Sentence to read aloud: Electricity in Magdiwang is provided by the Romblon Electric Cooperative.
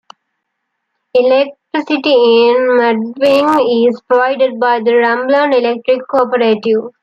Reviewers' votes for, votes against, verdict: 1, 2, rejected